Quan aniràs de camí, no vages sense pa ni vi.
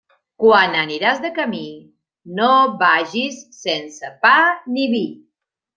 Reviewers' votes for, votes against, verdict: 1, 2, rejected